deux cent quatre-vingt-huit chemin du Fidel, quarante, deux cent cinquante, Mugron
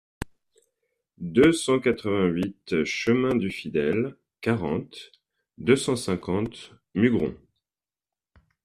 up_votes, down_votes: 2, 0